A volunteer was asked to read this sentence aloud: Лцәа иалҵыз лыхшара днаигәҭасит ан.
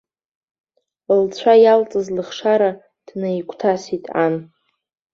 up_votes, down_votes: 2, 0